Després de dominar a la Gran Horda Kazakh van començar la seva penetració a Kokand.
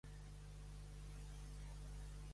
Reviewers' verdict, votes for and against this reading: rejected, 0, 2